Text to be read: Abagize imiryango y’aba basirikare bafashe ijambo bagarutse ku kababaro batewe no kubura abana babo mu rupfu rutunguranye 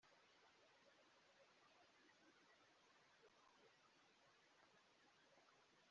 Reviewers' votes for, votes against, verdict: 1, 2, rejected